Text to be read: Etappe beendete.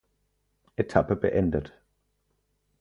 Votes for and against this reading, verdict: 2, 4, rejected